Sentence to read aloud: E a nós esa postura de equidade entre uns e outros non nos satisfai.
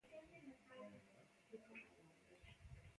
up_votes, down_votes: 0, 2